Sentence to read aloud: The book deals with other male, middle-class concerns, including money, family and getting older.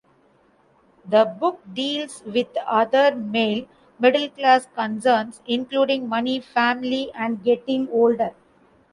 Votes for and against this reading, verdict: 2, 1, accepted